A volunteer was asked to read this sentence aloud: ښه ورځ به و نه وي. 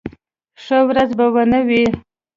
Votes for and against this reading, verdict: 2, 0, accepted